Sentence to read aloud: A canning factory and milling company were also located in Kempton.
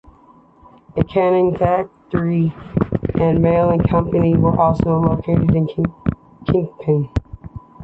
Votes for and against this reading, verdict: 0, 2, rejected